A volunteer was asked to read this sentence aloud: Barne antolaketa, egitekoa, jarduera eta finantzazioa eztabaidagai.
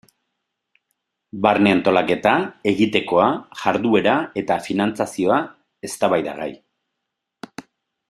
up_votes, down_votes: 2, 0